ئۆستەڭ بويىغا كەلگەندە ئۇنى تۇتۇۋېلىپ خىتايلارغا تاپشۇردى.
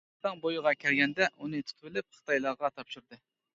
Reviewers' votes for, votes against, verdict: 1, 2, rejected